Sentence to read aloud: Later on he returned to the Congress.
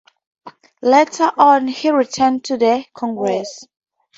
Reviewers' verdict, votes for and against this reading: accepted, 2, 0